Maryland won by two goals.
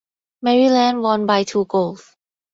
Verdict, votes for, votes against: accepted, 2, 0